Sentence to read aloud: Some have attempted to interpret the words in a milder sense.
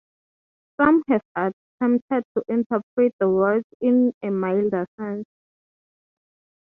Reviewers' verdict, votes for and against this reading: accepted, 6, 0